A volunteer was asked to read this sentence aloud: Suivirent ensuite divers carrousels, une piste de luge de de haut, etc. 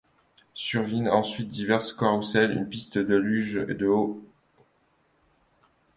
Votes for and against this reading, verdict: 0, 2, rejected